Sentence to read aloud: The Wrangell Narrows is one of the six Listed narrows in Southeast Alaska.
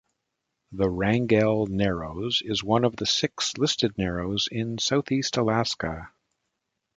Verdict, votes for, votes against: accepted, 2, 0